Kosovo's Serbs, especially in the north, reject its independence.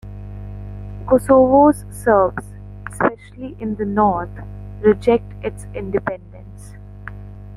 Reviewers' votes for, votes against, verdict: 2, 0, accepted